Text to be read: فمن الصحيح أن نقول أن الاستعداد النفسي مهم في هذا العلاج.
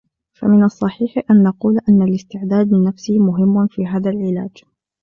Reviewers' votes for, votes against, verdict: 2, 0, accepted